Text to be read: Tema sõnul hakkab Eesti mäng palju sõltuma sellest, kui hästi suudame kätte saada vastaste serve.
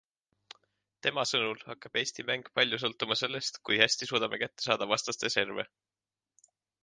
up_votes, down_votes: 3, 0